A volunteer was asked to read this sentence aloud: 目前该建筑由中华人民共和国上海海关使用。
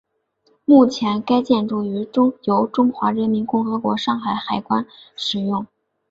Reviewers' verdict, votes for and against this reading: accepted, 3, 2